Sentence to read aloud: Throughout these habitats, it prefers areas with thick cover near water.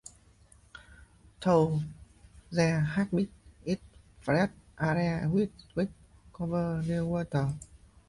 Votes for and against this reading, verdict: 0, 2, rejected